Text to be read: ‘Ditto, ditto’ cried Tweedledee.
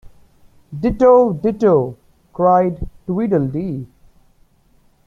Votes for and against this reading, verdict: 0, 2, rejected